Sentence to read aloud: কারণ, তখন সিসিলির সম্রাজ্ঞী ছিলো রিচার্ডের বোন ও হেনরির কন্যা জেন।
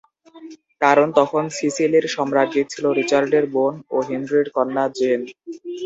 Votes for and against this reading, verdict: 0, 2, rejected